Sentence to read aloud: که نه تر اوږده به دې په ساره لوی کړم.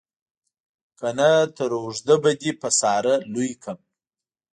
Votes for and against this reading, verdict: 2, 0, accepted